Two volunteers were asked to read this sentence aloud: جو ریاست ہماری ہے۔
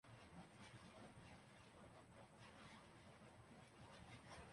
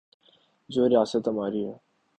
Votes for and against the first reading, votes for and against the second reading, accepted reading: 0, 2, 4, 0, second